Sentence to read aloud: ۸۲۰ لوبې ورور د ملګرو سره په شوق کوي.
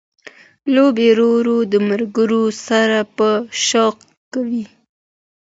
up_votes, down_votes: 0, 2